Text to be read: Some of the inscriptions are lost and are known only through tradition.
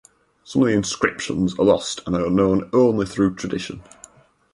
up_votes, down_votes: 4, 0